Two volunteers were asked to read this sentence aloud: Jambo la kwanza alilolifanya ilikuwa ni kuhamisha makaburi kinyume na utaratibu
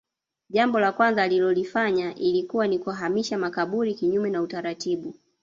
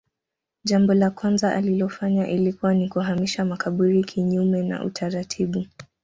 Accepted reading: second